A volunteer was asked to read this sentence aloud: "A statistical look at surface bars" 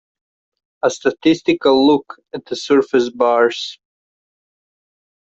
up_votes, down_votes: 0, 2